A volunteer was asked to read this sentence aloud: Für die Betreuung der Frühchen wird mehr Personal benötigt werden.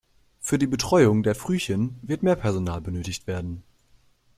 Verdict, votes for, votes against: accepted, 2, 0